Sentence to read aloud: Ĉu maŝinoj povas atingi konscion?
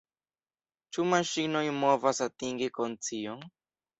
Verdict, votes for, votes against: rejected, 1, 2